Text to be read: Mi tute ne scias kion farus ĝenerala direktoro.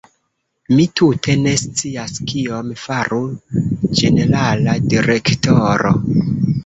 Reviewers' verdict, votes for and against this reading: rejected, 0, 2